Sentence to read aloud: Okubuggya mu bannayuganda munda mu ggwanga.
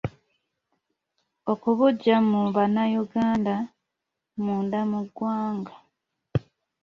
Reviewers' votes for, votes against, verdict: 1, 2, rejected